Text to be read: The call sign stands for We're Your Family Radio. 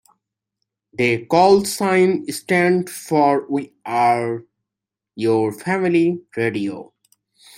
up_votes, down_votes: 1, 2